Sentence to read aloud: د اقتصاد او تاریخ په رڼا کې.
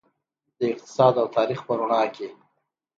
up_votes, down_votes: 2, 0